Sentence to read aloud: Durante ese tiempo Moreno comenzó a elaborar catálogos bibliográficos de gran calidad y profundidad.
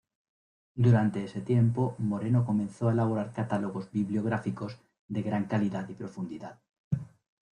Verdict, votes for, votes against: rejected, 1, 2